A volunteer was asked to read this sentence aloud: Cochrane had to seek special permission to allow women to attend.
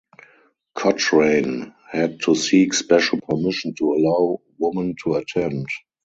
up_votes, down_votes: 0, 2